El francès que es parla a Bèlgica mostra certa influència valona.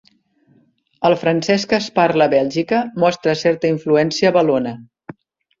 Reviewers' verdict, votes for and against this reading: accepted, 3, 0